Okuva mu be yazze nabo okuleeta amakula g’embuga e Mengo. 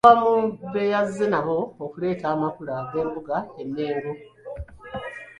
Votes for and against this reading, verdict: 2, 1, accepted